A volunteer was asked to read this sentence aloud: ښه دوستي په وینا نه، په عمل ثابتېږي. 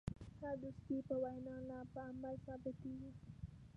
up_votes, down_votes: 0, 2